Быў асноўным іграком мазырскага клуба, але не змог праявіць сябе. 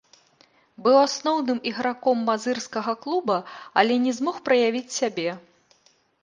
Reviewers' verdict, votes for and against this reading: rejected, 1, 2